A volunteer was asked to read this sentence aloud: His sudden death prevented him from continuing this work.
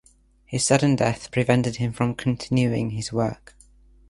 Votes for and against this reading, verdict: 1, 2, rejected